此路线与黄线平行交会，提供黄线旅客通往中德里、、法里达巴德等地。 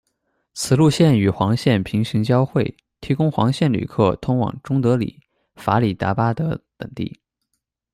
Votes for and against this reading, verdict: 2, 0, accepted